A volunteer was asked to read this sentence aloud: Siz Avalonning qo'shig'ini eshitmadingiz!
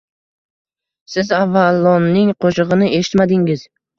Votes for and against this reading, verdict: 2, 1, accepted